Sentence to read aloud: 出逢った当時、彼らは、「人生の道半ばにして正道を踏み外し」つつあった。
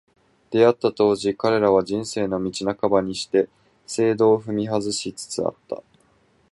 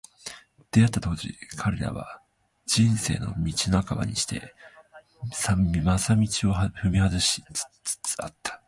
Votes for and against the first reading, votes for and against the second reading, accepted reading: 2, 0, 1, 3, first